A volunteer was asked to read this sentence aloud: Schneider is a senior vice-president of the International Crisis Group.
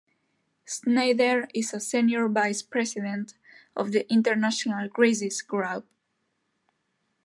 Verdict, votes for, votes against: rejected, 0, 2